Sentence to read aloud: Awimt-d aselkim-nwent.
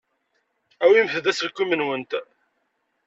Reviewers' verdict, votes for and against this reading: accepted, 2, 0